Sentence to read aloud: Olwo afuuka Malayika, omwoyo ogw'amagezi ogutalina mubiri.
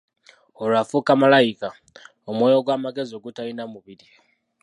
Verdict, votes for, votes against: rejected, 1, 2